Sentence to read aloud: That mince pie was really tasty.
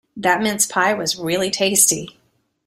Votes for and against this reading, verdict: 2, 0, accepted